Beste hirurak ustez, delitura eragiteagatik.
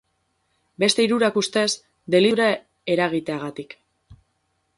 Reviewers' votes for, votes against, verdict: 0, 4, rejected